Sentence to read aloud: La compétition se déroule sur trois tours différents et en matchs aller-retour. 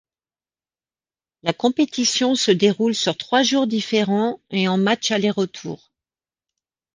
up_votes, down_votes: 1, 2